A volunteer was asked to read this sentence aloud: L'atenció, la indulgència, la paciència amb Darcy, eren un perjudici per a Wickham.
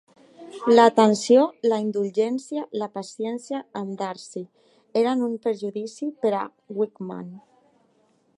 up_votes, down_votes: 3, 1